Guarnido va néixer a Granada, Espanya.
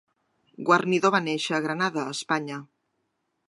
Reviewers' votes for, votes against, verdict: 1, 2, rejected